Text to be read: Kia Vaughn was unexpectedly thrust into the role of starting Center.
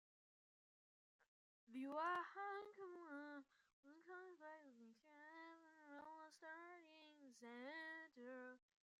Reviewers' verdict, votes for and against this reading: rejected, 0, 2